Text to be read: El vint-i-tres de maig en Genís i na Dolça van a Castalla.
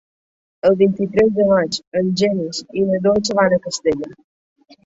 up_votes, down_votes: 0, 2